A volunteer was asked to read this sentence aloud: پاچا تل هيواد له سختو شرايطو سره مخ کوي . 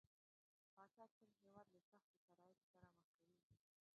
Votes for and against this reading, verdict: 0, 2, rejected